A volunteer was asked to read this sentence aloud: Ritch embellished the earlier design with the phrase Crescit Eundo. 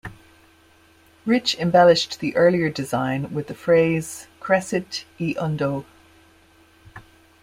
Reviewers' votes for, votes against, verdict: 1, 2, rejected